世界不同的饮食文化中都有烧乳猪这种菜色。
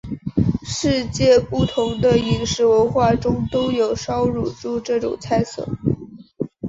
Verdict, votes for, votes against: accepted, 2, 0